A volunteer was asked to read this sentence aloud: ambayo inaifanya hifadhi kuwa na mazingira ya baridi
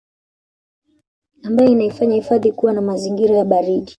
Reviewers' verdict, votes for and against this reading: accepted, 2, 0